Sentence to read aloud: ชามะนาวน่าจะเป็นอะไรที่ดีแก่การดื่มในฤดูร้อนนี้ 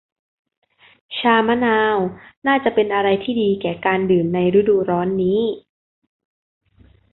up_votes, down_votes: 2, 0